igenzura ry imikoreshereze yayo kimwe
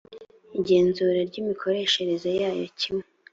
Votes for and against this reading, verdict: 2, 0, accepted